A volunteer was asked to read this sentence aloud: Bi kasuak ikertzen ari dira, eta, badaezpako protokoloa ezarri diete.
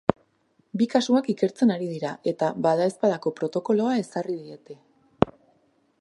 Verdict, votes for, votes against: accepted, 5, 1